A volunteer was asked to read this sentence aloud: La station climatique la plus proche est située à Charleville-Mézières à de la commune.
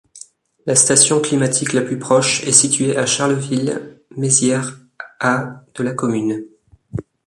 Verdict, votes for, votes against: accepted, 2, 0